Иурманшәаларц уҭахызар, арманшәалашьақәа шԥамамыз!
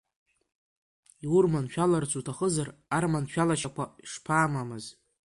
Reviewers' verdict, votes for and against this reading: accepted, 2, 0